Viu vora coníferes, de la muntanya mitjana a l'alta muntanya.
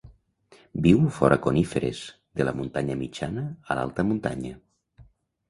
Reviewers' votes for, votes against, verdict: 1, 2, rejected